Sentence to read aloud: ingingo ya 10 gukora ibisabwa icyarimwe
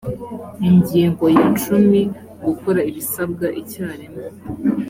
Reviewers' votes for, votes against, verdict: 0, 2, rejected